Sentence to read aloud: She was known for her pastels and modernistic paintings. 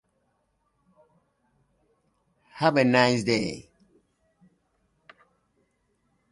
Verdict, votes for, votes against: rejected, 0, 2